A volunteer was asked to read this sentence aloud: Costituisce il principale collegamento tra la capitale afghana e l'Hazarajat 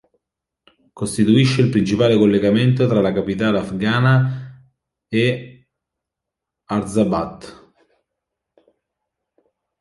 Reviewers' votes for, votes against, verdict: 0, 2, rejected